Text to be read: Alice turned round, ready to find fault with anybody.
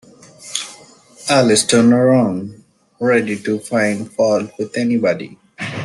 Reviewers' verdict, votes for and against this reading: accepted, 2, 1